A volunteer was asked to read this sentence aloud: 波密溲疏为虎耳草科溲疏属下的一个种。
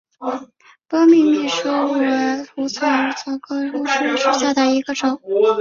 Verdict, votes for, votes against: rejected, 0, 2